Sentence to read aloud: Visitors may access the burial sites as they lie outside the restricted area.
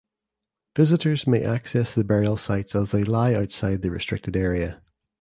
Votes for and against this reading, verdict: 2, 0, accepted